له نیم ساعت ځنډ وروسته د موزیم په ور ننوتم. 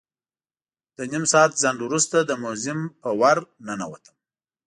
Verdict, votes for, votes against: accepted, 2, 0